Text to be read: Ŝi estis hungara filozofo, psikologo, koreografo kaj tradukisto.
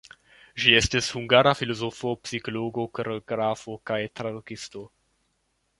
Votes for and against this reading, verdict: 2, 0, accepted